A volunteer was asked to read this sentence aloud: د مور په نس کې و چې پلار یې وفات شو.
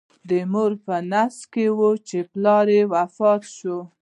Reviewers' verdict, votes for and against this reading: rejected, 1, 2